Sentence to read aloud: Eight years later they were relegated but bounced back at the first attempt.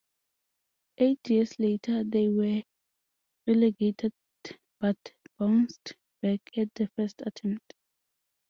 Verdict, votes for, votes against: rejected, 2, 2